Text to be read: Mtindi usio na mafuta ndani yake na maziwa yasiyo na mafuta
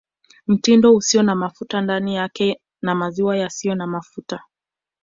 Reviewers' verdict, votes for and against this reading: accepted, 2, 1